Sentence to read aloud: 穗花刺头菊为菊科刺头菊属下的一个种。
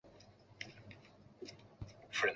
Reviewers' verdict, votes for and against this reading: rejected, 2, 3